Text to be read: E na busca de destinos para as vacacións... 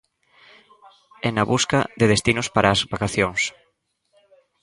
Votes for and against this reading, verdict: 2, 0, accepted